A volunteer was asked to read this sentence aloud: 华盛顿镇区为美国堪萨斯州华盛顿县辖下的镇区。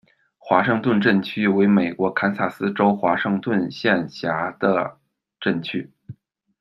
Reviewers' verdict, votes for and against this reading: rejected, 0, 2